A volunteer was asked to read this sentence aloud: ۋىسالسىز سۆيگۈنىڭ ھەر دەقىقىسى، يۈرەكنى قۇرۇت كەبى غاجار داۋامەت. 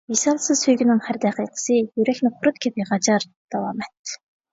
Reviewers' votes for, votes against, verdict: 1, 2, rejected